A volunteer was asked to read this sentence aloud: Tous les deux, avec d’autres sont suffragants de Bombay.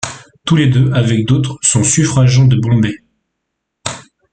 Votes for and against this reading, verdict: 2, 1, accepted